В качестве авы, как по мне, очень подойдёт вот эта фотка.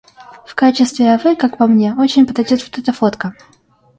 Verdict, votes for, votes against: rejected, 1, 2